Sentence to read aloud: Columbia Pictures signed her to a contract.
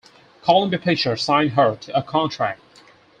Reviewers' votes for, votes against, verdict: 4, 0, accepted